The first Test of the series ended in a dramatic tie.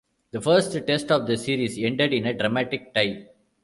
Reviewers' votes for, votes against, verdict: 2, 0, accepted